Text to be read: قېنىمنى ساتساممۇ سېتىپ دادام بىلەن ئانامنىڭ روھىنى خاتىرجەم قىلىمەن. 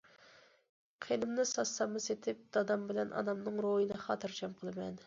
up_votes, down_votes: 2, 0